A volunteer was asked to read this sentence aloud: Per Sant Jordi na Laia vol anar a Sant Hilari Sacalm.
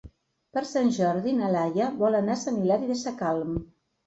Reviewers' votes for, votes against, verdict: 0, 2, rejected